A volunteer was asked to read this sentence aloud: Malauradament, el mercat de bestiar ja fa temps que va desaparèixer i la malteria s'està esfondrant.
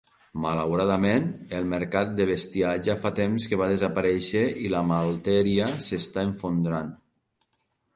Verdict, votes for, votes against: accepted, 2, 1